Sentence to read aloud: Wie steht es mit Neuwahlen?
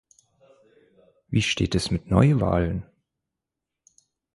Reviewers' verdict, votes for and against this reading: accepted, 4, 0